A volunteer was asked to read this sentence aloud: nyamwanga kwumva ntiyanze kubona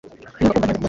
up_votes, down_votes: 1, 3